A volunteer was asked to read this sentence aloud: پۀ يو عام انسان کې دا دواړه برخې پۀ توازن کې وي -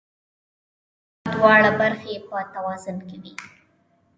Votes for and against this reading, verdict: 0, 2, rejected